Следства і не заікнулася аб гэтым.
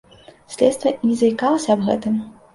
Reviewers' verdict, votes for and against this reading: rejected, 0, 2